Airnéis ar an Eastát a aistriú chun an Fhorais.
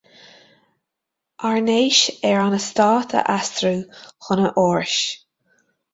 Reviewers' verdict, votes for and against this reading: rejected, 1, 2